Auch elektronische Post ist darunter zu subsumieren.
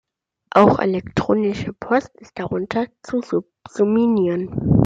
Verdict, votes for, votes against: rejected, 0, 2